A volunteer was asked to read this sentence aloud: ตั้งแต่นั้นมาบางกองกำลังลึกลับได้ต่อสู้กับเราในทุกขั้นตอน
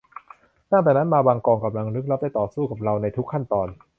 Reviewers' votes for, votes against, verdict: 2, 0, accepted